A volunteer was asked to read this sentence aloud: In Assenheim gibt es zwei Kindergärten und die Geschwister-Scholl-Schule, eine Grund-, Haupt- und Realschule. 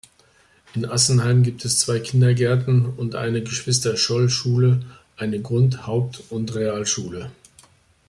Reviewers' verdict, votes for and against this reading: rejected, 0, 2